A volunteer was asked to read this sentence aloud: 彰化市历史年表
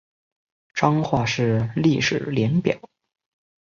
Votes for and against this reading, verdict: 2, 0, accepted